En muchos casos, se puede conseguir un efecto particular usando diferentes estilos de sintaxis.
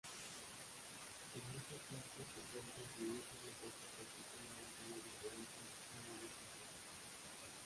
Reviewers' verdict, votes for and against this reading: rejected, 0, 2